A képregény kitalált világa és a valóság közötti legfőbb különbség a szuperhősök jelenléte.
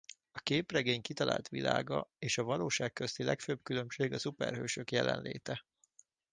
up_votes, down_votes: 2, 0